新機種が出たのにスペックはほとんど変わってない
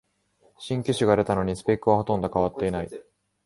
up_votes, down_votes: 4, 0